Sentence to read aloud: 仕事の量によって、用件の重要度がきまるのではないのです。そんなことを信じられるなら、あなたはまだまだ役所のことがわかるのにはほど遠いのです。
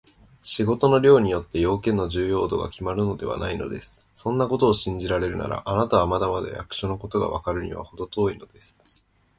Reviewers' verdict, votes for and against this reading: accepted, 2, 0